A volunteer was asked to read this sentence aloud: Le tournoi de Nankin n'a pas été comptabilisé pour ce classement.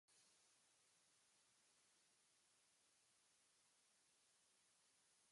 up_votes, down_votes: 0, 2